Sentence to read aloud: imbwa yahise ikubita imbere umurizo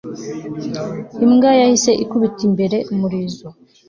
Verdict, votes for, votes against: accepted, 2, 0